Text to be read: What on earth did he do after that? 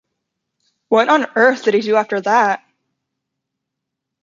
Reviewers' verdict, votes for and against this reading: accepted, 2, 0